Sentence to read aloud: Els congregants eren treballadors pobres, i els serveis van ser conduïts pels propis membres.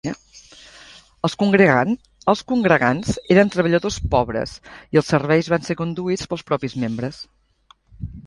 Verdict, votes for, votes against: rejected, 1, 2